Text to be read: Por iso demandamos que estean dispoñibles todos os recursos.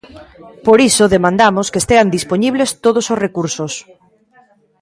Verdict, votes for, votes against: rejected, 1, 2